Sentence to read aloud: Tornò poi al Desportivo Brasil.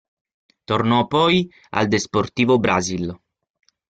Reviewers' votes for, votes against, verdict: 0, 6, rejected